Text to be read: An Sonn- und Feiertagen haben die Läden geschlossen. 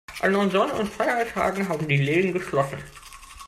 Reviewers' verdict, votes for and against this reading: rejected, 1, 2